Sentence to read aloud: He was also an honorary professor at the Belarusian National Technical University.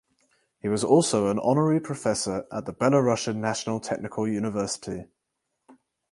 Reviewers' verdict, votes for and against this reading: accepted, 4, 0